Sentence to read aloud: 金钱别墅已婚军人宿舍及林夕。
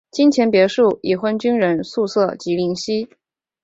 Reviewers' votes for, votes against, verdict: 2, 1, accepted